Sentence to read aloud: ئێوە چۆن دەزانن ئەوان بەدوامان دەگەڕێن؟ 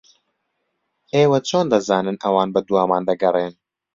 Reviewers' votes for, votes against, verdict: 2, 0, accepted